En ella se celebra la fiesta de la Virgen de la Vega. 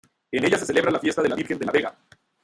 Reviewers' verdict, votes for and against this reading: rejected, 1, 2